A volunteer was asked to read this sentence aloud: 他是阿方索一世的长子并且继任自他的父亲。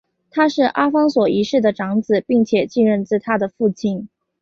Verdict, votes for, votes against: accepted, 2, 0